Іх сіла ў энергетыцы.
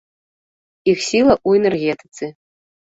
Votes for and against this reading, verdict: 2, 0, accepted